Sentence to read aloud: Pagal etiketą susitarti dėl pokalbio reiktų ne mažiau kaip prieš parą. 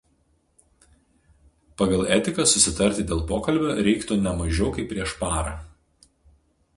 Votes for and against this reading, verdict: 0, 2, rejected